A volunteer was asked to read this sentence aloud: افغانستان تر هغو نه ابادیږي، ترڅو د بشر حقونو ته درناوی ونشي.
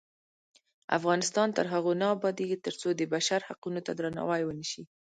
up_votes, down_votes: 0, 2